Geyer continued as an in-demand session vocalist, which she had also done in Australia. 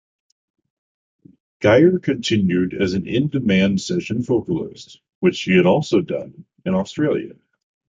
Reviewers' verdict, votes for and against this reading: accepted, 2, 0